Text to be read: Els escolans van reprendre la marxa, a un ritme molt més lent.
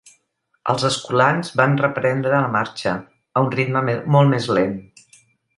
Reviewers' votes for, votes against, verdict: 1, 2, rejected